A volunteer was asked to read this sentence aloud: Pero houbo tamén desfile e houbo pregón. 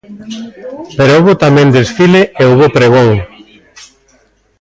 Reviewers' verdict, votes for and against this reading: rejected, 0, 2